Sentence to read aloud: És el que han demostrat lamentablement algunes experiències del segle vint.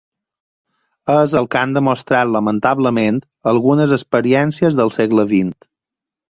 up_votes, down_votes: 4, 0